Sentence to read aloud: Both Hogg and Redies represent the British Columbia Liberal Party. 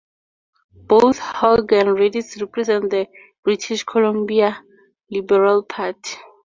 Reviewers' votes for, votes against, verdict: 2, 0, accepted